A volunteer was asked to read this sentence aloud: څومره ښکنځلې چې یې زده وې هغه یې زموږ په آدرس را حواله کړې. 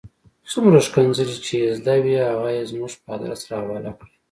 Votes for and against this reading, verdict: 2, 0, accepted